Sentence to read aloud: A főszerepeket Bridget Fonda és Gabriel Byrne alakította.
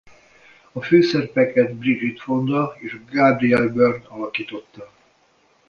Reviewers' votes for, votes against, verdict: 1, 2, rejected